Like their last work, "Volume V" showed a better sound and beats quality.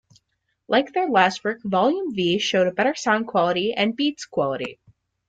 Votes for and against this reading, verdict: 0, 2, rejected